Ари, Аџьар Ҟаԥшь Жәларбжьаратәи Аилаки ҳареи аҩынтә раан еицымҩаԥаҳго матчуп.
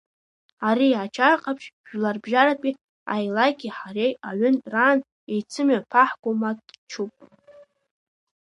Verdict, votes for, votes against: accepted, 2, 1